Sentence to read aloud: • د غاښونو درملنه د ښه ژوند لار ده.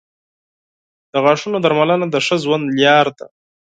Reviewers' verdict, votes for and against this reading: rejected, 0, 4